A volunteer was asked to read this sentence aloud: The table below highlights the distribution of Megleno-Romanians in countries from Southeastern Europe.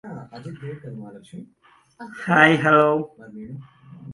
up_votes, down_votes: 0, 2